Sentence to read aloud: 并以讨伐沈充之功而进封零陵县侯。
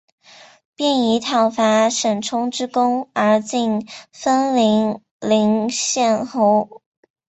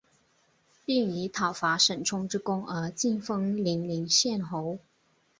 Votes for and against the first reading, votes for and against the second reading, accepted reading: 2, 3, 2, 1, second